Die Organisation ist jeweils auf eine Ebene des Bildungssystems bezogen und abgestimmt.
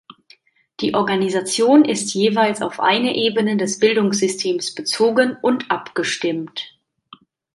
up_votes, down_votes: 2, 0